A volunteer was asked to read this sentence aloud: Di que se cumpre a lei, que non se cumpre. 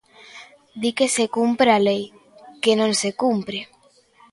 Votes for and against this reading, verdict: 2, 0, accepted